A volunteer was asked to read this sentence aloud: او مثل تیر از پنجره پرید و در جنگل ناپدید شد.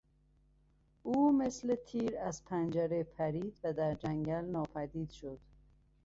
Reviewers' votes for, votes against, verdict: 2, 0, accepted